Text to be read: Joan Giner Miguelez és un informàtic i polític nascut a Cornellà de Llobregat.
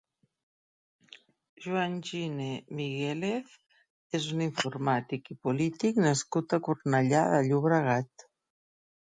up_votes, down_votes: 1, 2